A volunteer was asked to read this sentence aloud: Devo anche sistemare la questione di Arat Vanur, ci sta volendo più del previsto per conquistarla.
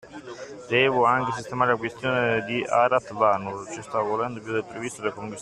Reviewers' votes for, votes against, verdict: 0, 2, rejected